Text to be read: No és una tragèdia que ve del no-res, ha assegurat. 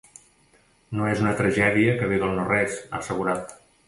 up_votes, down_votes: 2, 0